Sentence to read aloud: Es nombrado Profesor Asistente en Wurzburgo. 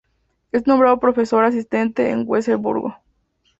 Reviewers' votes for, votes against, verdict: 0, 2, rejected